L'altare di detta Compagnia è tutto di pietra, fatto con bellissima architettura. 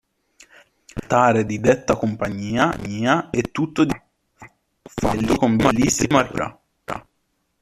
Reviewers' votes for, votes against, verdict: 0, 2, rejected